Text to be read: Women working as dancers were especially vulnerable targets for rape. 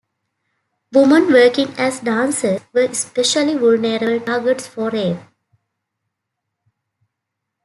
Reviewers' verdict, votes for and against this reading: rejected, 1, 2